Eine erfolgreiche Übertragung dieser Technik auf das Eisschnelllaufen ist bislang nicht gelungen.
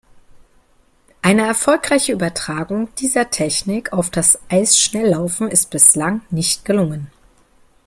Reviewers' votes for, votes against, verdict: 2, 0, accepted